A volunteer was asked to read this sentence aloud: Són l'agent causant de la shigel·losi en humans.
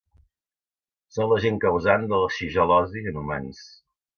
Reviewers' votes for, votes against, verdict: 2, 0, accepted